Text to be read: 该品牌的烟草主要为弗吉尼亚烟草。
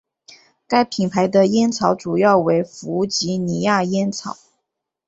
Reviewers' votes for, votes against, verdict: 4, 0, accepted